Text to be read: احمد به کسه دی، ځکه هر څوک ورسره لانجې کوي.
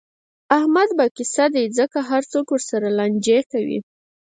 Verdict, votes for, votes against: accepted, 6, 2